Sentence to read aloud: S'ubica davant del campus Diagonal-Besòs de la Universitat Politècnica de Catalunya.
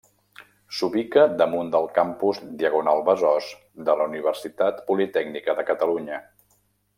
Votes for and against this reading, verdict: 1, 2, rejected